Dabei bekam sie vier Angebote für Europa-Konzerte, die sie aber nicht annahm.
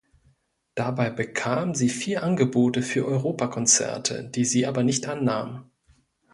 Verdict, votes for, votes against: accepted, 2, 0